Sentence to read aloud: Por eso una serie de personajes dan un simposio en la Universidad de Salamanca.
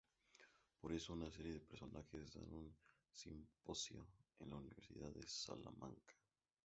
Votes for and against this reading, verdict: 0, 2, rejected